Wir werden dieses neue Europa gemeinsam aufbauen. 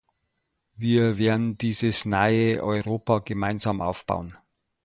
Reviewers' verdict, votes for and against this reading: accepted, 2, 0